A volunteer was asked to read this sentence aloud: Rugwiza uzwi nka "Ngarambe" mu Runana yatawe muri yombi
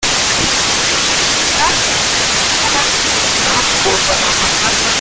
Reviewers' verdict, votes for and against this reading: rejected, 0, 2